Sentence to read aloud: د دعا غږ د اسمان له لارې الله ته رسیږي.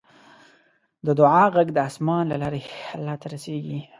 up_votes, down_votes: 2, 1